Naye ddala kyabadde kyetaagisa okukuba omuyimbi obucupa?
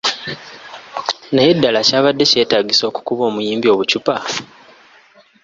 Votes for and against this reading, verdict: 2, 0, accepted